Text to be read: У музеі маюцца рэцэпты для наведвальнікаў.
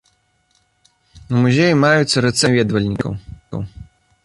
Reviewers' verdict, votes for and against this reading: rejected, 0, 2